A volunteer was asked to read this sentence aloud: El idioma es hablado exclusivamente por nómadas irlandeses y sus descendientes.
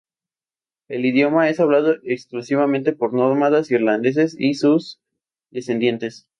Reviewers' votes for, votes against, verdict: 0, 2, rejected